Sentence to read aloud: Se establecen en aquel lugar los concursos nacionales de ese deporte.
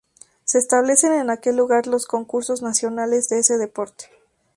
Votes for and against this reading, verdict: 2, 0, accepted